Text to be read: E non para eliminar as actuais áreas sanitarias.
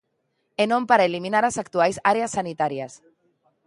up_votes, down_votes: 1, 2